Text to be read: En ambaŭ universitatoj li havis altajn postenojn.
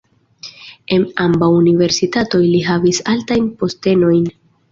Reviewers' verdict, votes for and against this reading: rejected, 1, 2